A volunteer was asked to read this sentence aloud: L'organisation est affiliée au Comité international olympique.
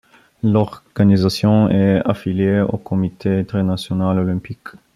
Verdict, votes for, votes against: rejected, 1, 2